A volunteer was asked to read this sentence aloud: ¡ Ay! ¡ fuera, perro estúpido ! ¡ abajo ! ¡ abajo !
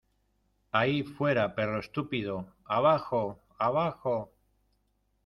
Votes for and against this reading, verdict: 1, 2, rejected